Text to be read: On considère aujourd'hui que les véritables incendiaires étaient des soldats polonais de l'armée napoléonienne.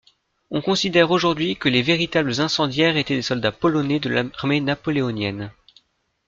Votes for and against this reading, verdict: 0, 2, rejected